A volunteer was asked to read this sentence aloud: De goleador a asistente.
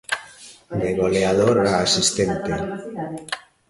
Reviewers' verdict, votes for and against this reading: rejected, 0, 2